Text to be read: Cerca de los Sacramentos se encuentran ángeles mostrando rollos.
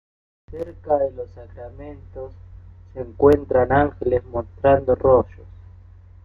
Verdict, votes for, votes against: rejected, 0, 2